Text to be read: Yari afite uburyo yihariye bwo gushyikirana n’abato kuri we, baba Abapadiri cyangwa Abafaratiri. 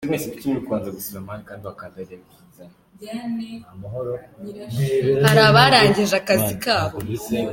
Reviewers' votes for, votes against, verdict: 0, 2, rejected